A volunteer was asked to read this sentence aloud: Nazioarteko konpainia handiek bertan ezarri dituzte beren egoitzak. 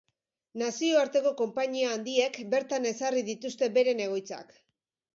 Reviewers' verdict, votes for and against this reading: accepted, 2, 0